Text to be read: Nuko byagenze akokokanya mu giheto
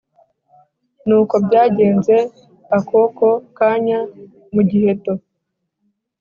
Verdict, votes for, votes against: accepted, 2, 0